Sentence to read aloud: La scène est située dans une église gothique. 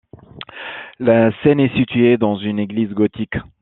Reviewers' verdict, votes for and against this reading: accepted, 2, 0